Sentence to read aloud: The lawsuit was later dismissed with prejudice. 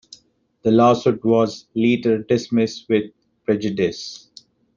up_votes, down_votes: 2, 0